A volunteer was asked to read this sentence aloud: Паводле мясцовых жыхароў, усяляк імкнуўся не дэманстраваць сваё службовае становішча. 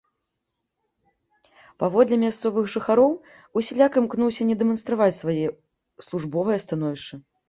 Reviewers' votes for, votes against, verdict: 1, 2, rejected